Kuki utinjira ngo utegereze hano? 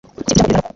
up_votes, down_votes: 1, 2